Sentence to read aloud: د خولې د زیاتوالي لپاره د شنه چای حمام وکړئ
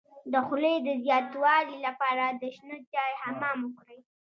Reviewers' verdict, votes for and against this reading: rejected, 1, 2